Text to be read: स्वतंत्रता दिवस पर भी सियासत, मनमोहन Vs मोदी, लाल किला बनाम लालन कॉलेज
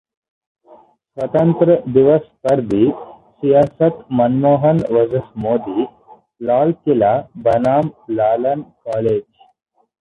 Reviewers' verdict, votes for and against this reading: rejected, 0, 4